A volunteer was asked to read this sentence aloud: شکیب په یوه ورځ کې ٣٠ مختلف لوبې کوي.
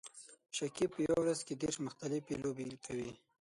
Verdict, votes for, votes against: rejected, 0, 2